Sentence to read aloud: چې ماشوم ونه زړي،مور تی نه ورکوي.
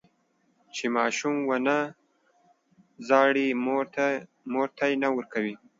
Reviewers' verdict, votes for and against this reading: accepted, 2, 0